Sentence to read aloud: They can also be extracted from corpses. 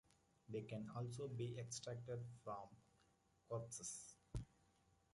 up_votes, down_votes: 1, 2